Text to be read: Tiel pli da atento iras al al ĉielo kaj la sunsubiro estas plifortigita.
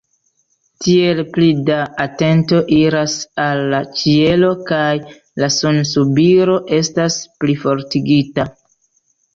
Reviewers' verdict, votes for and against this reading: rejected, 0, 2